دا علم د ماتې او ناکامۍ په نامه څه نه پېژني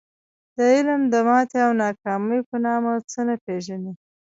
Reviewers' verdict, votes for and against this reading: rejected, 1, 2